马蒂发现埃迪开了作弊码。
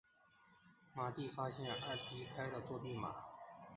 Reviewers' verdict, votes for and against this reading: rejected, 2, 3